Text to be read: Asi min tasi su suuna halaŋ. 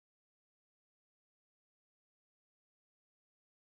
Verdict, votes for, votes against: rejected, 1, 2